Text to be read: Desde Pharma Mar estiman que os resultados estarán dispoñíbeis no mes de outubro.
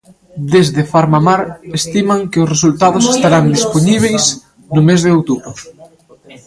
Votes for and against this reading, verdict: 0, 2, rejected